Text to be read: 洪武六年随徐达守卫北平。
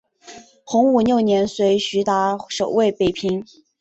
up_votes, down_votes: 5, 0